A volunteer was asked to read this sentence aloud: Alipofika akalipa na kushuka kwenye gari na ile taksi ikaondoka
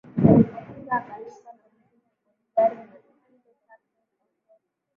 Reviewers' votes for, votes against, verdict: 0, 8, rejected